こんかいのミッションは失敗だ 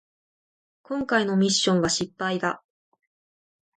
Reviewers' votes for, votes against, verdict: 2, 0, accepted